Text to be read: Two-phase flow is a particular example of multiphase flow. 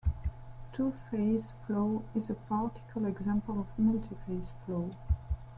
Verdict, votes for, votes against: rejected, 1, 2